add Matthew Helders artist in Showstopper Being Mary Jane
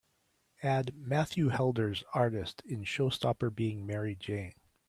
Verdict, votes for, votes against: accepted, 2, 0